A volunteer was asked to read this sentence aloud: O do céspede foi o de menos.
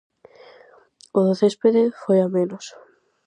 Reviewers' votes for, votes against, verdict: 0, 2, rejected